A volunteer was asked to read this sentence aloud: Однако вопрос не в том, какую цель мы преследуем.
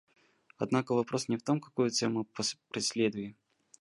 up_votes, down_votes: 0, 2